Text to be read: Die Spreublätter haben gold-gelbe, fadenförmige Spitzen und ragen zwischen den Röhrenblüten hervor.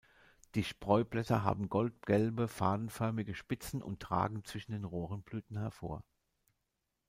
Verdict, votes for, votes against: rejected, 1, 2